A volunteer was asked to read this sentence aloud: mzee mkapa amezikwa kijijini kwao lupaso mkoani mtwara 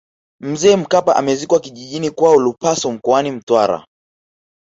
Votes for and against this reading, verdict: 4, 0, accepted